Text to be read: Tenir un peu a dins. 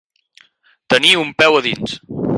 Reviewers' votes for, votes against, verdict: 4, 0, accepted